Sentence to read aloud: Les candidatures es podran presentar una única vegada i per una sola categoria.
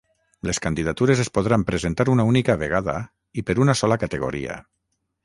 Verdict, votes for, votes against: accepted, 6, 0